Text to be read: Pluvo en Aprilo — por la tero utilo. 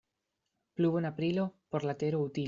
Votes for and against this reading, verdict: 0, 2, rejected